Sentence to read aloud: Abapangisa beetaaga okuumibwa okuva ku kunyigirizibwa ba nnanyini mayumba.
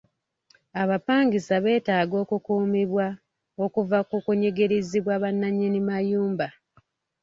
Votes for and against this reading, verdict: 2, 0, accepted